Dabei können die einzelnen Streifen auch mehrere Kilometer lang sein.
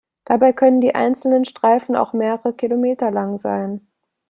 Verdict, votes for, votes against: accepted, 2, 0